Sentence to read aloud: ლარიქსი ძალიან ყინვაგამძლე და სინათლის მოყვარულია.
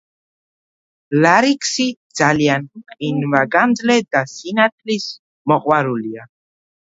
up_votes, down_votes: 2, 1